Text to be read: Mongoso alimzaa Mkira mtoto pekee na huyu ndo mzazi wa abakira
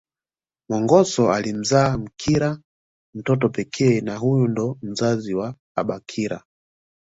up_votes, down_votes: 2, 0